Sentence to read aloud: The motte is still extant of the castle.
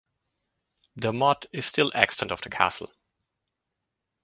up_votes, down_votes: 4, 0